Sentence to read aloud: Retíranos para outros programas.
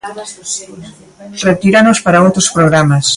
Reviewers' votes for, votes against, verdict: 1, 2, rejected